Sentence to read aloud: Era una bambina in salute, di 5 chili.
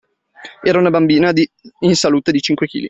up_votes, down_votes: 0, 2